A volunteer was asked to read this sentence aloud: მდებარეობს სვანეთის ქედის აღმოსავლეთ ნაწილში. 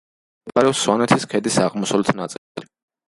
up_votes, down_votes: 0, 2